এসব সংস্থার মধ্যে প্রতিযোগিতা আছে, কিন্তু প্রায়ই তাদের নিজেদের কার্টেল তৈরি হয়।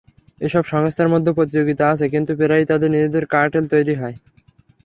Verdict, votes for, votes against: accepted, 3, 0